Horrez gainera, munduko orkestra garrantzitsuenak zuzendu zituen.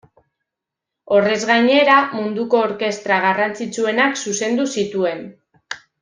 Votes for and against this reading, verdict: 2, 0, accepted